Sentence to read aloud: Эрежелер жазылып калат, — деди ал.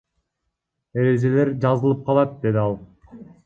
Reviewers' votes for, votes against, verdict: 1, 2, rejected